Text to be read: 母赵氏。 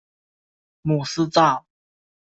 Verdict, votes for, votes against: rejected, 0, 2